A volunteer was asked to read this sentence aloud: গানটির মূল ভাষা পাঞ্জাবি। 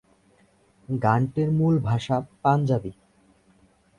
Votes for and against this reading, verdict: 12, 0, accepted